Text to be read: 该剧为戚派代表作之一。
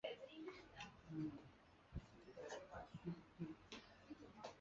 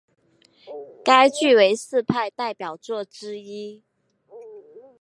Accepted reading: second